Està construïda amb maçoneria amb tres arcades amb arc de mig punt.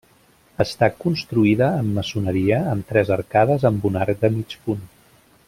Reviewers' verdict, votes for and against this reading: rejected, 1, 2